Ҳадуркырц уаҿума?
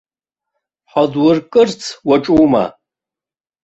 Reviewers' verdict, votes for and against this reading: accepted, 2, 0